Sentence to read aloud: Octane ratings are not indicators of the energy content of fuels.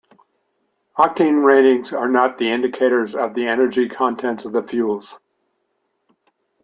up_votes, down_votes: 2, 1